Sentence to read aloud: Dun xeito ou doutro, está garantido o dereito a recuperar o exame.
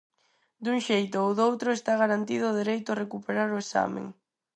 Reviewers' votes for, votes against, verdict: 0, 4, rejected